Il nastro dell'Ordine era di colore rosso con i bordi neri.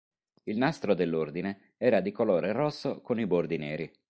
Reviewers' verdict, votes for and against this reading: accepted, 3, 0